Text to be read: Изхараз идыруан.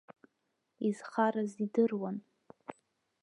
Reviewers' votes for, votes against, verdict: 1, 2, rejected